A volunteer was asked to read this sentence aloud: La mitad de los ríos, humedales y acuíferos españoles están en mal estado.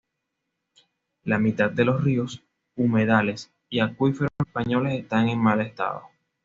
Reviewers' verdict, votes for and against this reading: accepted, 2, 0